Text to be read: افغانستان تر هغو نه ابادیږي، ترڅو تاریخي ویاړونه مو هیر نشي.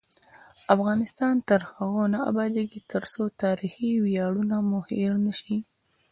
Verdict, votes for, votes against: accepted, 2, 0